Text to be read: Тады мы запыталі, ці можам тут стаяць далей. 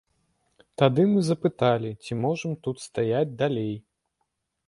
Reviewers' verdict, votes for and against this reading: accepted, 2, 0